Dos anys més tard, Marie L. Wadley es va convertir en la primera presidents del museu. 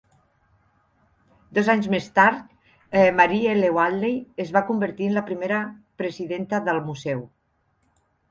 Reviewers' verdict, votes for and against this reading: accepted, 2, 1